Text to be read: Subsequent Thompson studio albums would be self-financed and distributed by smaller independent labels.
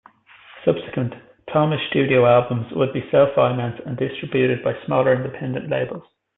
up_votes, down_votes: 0, 2